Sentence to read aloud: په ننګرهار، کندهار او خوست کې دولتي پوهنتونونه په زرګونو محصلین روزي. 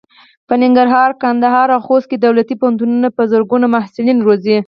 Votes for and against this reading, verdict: 2, 4, rejected